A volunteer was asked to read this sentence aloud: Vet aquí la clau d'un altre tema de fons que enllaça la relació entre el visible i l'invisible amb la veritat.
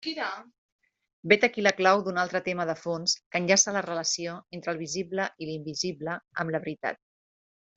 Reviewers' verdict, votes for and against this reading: rejected, 1, 2